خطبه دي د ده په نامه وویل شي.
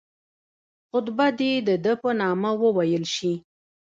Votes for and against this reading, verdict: 1, 2, rejected